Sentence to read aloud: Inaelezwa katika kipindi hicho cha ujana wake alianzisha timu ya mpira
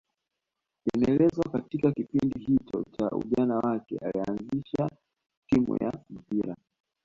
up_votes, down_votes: 2, 1